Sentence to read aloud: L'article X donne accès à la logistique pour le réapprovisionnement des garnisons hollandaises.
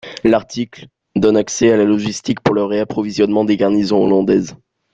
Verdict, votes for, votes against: rejected, 1, 2